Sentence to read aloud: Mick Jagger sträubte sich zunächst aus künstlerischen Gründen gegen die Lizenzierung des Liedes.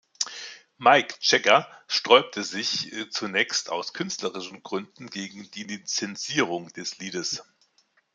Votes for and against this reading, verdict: 0, 2, rejected